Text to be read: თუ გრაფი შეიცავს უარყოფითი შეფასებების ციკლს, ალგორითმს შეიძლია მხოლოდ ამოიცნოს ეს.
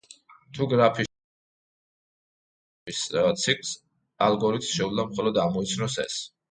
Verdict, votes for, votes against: rejected, 0, 2